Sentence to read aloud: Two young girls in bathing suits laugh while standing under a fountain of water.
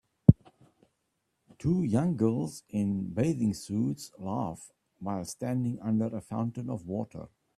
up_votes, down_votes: 2, 0